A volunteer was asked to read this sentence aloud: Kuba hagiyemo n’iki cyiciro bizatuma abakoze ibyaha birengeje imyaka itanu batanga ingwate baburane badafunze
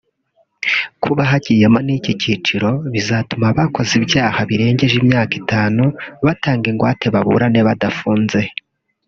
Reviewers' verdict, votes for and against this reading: rejected, 1, 2